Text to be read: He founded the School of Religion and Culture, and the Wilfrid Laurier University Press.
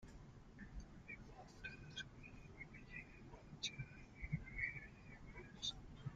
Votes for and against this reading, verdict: 0, 2, rejected